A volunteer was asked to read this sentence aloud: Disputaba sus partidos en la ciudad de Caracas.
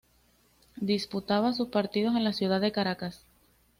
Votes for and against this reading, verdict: 2, 0, accepted